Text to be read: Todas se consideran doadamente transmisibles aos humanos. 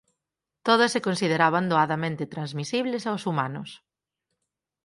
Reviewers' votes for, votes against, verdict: 2, 4, rejected